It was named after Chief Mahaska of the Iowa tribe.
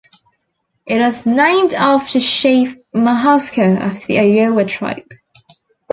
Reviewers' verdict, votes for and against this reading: accepted, 2, 0